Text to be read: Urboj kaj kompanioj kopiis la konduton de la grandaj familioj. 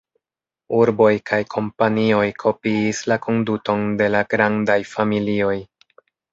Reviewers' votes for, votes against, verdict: 2, 0, accepted